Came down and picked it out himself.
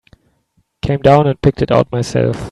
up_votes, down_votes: 0, 3